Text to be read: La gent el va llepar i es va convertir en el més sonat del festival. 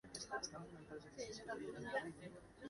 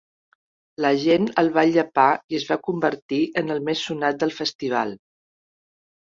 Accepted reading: second